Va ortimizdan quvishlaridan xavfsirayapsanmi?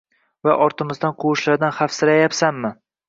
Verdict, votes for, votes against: accepted, 2, 0